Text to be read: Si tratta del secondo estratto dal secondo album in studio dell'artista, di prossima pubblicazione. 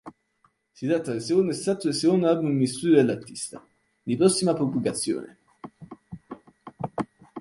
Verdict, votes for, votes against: rejected, 0, 3